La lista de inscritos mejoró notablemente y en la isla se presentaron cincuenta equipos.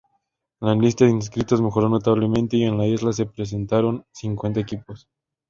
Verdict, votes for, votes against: accepted, 2, 0